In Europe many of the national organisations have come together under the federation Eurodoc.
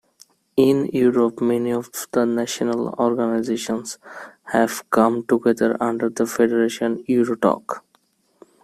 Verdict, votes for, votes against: rejected, 0, 2